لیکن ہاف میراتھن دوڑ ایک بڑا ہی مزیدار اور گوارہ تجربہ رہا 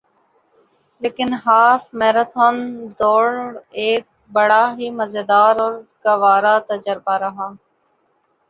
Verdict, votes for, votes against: rejected, 0, 2